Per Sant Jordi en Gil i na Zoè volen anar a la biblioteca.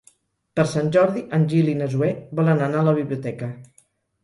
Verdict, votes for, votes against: accepted, 6, 0